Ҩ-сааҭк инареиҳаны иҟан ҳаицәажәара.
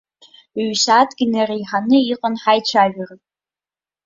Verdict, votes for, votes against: accepted, 2, 1